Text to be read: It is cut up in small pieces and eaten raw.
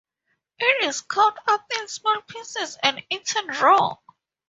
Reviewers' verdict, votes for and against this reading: accepted, 2, 0